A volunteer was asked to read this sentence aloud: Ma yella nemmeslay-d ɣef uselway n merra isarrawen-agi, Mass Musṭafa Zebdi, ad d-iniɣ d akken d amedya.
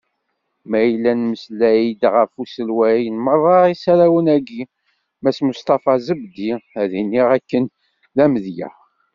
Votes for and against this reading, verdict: 2, 0, accepted